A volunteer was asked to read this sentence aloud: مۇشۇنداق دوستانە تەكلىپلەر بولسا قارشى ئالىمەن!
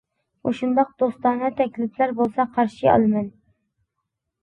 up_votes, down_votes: 2, 0